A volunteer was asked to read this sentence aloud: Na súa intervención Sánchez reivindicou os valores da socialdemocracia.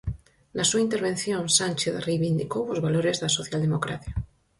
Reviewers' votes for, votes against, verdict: 4, 0, accepted